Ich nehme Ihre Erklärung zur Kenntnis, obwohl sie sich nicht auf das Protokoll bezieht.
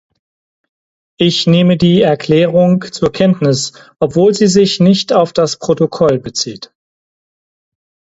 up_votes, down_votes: 0, 4